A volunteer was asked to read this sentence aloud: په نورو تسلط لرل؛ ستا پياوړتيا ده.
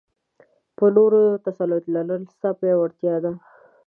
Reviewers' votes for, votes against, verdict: 2, 0, accepted